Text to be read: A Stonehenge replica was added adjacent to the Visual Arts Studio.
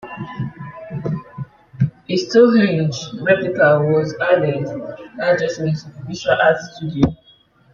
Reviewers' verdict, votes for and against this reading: rejected, 0, 2